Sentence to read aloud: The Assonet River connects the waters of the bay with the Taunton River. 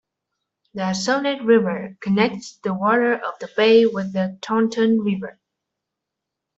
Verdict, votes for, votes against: rejected, 0, 2